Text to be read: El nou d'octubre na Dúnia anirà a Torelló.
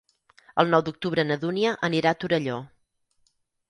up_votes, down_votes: 6, 0